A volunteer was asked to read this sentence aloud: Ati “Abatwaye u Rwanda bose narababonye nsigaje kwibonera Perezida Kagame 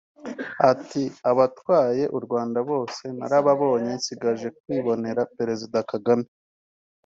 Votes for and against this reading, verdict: 2, 1, accepted